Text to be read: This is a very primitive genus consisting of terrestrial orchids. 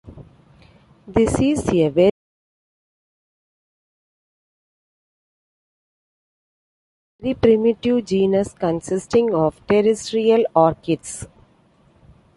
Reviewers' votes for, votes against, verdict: 1, 2, rejected